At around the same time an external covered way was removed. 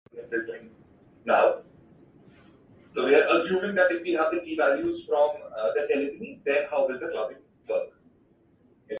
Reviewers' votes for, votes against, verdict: 0, 2, rejected